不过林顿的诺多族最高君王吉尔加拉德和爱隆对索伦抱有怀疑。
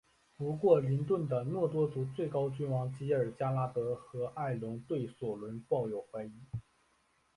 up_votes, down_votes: 4, 1